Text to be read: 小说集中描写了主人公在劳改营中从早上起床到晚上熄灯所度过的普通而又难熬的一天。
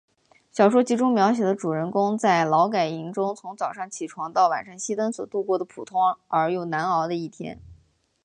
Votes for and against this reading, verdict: 5, 1, accepted